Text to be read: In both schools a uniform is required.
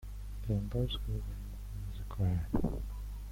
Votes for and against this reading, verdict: 0, 2, rejected